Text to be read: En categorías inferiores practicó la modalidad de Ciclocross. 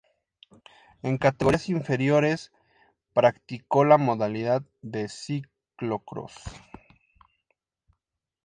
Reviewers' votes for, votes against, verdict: 2, 0, accepted